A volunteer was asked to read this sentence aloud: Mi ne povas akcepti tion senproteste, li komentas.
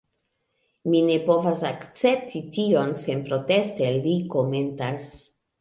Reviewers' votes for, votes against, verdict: 2, 0, accepted